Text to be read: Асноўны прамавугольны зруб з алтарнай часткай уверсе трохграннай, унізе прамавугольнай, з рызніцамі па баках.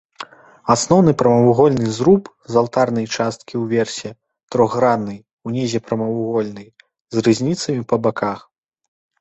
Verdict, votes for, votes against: rejected, 1, 2